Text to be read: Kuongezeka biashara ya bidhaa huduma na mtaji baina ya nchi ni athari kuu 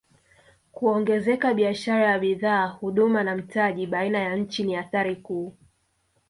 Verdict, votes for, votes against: rejected, 1, 2